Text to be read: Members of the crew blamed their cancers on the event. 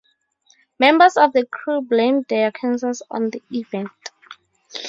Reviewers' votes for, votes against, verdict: 2, 0, accepted